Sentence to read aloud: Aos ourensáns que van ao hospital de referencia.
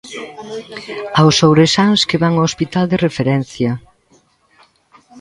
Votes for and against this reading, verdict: 0, 2, rejected